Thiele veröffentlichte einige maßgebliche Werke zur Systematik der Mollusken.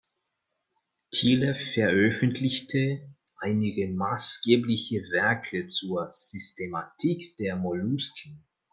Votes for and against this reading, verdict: 0, 2, rejected